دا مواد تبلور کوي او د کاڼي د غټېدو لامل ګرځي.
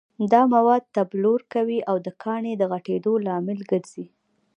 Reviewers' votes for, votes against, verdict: 1, 2, rejected